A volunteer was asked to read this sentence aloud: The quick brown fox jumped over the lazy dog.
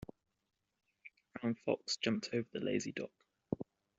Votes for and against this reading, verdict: 1, 2, rejected